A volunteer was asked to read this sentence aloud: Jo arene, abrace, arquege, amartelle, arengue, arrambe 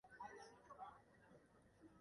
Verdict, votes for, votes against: rejected, 2, 3